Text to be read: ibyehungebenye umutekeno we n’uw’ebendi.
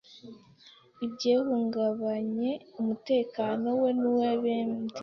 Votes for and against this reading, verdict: 1, 3, rejected